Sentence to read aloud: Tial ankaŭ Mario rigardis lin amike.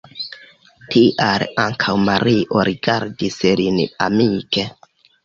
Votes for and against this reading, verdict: 2, 1, accepted